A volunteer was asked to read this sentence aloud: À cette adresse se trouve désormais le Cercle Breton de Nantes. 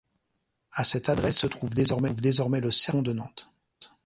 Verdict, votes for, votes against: rejected, 0, 2